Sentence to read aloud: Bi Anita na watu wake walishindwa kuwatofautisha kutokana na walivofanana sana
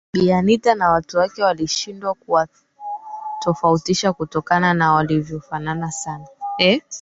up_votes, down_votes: 0, 2